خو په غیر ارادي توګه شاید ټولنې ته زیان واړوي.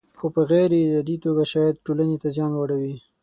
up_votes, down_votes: 6, 0